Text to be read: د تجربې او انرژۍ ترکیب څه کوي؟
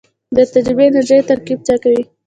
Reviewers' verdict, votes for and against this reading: rejected, 1, 2